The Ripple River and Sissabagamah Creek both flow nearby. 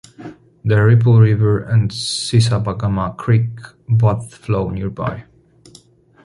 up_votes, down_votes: 2, 0